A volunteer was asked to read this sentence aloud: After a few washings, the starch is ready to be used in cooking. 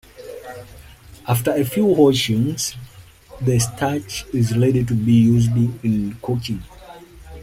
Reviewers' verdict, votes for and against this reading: accepted, 2, 1